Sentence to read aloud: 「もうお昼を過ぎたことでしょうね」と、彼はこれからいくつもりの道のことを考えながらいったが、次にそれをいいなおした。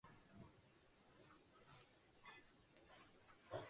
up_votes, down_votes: 0, 2